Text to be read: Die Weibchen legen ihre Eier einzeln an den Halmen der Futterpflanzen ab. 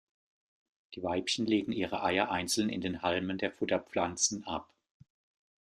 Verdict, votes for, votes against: rejected, 1, 2